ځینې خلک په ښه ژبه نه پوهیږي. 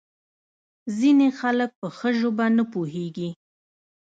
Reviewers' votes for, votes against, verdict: 0, 2, rejected